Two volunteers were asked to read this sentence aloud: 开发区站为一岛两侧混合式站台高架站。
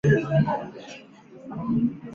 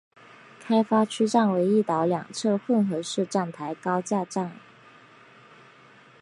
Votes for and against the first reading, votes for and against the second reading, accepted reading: 1, 2, 2, 0, second